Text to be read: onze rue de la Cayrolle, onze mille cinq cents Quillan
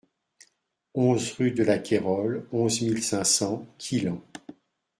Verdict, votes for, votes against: accepted, 2, 0